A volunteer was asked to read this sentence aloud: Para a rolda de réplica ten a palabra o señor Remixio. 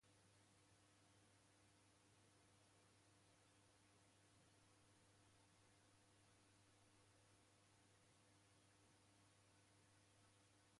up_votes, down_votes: 0, 2